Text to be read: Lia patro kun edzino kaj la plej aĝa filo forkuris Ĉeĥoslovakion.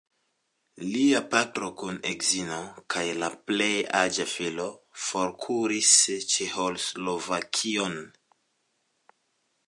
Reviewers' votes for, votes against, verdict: 2, 0, accepted